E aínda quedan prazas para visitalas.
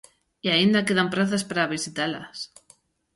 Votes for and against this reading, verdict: 2, 0, accepted